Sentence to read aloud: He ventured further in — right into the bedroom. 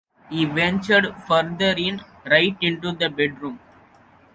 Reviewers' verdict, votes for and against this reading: accepted, 2, 0